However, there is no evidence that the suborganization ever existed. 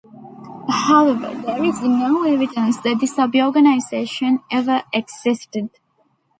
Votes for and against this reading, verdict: 1, 2, rejected